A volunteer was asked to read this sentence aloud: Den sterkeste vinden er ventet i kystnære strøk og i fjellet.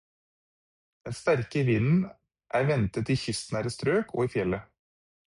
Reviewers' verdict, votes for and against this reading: rejected, 0, 4